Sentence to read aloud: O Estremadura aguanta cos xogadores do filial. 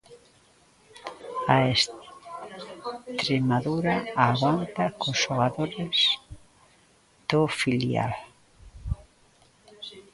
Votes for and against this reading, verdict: 0, 2, rejected